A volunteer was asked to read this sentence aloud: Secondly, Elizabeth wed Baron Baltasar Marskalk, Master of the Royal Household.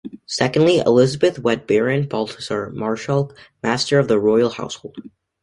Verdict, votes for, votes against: accepted, 2, 0